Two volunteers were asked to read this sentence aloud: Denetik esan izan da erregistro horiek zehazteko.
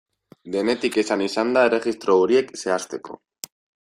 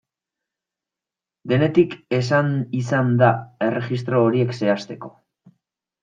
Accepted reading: first